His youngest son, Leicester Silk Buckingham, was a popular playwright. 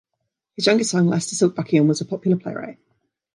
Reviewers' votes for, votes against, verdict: 2, 0, accepted